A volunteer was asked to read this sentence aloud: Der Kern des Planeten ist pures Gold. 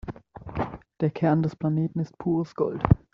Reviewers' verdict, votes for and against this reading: rejected, 1, 2